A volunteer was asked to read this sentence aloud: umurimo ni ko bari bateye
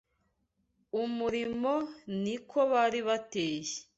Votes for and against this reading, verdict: 2, 0, accepted